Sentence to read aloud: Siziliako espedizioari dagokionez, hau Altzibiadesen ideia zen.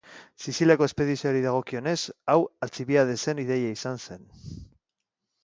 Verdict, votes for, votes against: accepted, 2, 1